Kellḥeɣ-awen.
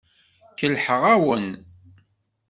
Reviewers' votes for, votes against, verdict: 1, 2, rejected